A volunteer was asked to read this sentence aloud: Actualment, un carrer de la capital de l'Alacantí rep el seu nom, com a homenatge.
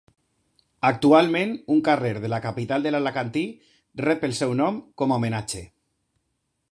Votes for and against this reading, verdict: 2, 0, accepted